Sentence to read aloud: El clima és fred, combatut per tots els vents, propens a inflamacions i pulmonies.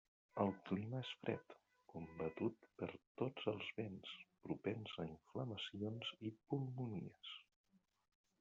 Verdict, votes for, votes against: rejected, 1, 2